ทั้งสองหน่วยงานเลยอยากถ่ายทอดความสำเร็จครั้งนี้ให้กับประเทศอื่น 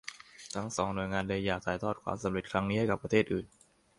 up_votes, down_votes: 2, 0